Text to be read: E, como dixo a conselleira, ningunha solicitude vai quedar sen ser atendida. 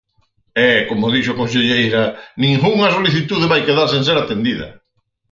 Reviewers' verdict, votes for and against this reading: accepted, 4, 0